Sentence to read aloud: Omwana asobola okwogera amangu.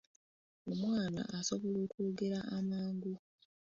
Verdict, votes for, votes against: accepted, 2, 1